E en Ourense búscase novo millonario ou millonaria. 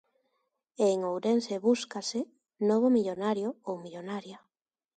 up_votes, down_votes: 2, 0